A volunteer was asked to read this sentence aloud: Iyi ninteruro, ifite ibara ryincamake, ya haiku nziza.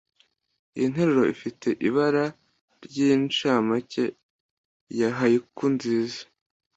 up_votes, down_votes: 1, 2